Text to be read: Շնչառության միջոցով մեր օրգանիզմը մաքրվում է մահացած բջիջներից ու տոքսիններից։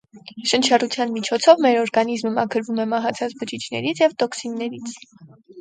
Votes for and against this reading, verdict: 0, 4, rejected